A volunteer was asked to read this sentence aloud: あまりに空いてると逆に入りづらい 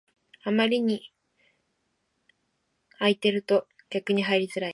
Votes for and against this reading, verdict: 1, 2, rejected